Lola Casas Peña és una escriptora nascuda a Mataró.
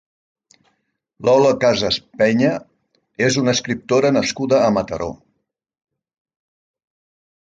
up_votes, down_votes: 2, 0